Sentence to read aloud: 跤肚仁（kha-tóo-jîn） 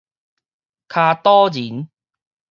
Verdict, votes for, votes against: accepted, 4, 0